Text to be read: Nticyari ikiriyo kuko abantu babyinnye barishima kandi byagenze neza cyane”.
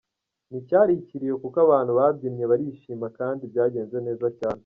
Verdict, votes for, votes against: rejected, 1, 2